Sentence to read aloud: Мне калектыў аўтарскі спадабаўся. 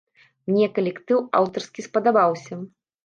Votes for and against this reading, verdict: 2, 0, accepted